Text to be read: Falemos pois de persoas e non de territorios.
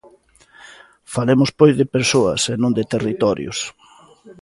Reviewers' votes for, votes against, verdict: 2, 0, accepted